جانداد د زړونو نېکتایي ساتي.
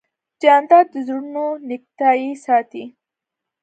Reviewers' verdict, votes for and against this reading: accepted, 2, 0